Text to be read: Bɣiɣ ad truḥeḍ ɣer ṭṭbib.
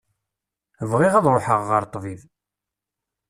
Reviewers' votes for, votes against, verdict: 0, 2, rejected